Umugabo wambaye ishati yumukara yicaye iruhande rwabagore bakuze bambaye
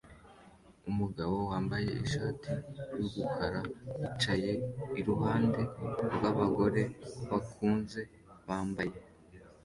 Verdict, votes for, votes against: rejected, 0, 2